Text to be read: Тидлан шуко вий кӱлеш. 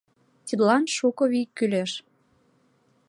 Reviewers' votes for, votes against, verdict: 3, 0, accepted